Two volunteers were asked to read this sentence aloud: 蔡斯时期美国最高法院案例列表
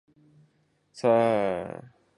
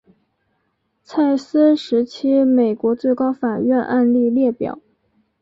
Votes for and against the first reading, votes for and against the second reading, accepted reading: 0, 2, 3, 0, second